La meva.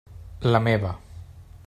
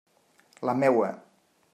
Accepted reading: first